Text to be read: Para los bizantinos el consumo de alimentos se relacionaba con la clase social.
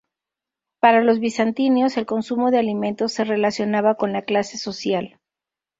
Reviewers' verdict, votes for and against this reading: rejected, 0, 4